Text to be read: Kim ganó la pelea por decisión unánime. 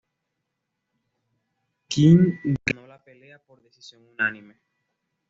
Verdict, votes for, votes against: accepted, 2, 0